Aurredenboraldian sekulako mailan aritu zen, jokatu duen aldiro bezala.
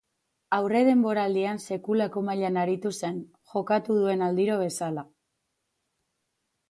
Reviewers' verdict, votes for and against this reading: rejected, 2, 2